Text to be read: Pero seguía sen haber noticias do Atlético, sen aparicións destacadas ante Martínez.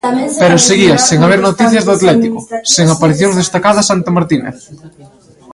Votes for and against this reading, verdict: 0, 2, rejected